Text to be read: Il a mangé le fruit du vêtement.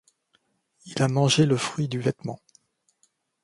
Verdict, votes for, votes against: accepted, 2, 0